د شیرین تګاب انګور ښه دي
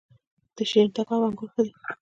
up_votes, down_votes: 2, 0